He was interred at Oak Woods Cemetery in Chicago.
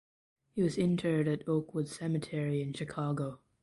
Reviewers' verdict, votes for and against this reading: rejected, 1, 2